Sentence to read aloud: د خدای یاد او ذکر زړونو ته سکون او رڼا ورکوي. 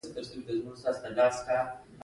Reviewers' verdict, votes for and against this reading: accepted, 2, 0